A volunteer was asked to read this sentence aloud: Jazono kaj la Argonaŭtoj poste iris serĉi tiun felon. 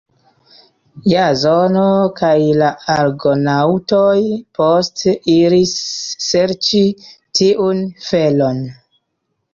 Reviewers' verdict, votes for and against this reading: accepted, 2, 1